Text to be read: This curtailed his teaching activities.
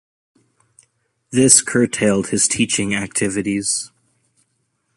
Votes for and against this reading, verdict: 2, 0, accepted